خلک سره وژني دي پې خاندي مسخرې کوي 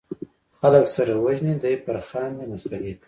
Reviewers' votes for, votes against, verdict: 1, 2, rejected